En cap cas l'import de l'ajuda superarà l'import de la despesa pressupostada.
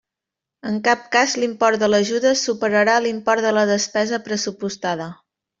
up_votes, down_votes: 3, 0